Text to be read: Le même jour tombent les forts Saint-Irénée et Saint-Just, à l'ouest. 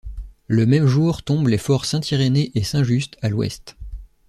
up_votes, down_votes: 2, 0